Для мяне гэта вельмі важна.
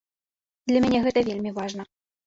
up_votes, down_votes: 2, 0